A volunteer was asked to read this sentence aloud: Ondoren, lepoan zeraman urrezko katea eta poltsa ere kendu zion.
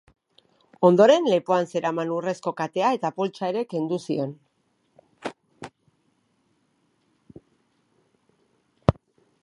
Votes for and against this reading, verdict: 2, 0, accepted